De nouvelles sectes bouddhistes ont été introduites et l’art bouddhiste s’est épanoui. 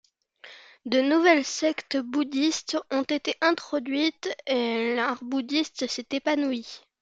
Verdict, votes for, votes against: accepted, 2, 0